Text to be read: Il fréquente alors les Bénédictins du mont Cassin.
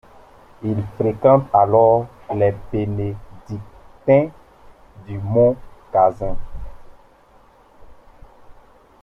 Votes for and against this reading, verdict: 2, 0, accepted